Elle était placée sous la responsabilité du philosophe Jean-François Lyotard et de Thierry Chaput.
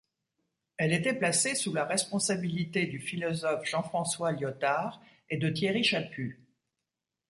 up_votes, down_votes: 2, 1